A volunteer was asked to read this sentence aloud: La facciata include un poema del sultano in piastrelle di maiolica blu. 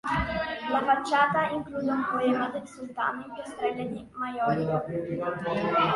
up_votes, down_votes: 0, 2